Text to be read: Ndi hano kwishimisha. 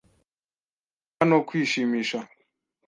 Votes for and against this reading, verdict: 1, 2, rejected